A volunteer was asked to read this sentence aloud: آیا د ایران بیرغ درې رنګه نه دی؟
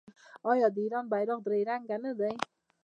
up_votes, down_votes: 1, 2